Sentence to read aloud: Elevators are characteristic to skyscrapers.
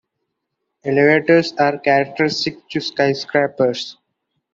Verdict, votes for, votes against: accepted, 2, 1